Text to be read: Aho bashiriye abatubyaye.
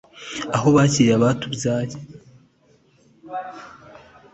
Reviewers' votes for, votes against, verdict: 2, 0, accepted